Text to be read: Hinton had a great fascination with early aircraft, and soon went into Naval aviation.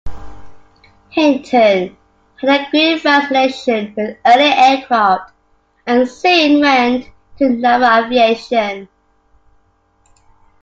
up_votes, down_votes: 1, 2